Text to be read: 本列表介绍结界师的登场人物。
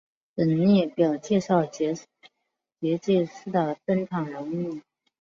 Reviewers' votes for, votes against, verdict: 2, 4, rejected